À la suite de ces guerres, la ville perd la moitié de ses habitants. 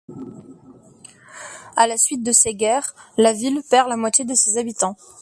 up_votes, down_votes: 2, 0